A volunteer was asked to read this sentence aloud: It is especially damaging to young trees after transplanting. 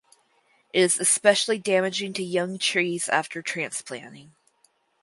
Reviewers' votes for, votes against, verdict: 4, 2, accepted